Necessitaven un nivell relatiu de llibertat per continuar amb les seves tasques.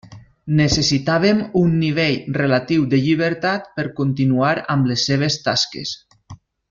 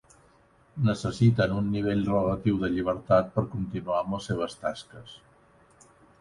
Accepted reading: first